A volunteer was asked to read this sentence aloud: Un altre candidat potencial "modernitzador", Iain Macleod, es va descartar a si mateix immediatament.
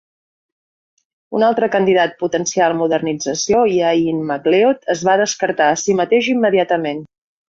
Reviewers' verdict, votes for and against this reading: rejected, 0, 2